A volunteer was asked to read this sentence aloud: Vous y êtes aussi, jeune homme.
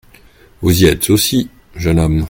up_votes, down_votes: 2, 0